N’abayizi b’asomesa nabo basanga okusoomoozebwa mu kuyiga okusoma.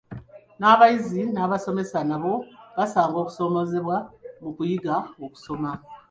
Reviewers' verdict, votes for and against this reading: rejected, 0, 2